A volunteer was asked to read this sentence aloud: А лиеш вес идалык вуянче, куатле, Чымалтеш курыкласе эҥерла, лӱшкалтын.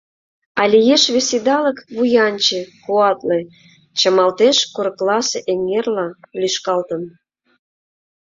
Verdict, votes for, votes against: accepted, 2, 0